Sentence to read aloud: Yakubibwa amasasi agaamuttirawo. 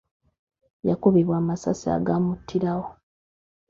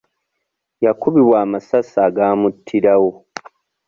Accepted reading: second